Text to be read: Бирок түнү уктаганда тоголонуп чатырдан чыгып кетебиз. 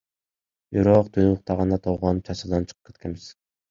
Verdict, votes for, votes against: rejected, 1, 2